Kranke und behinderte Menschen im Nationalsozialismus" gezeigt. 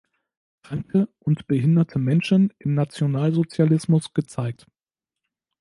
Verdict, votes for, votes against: rejected, 1, 2